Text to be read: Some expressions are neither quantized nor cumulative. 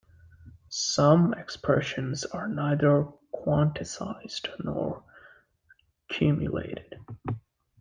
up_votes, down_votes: 0, 3